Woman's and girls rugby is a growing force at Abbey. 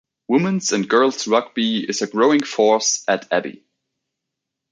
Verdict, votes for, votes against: accepted, 2, 0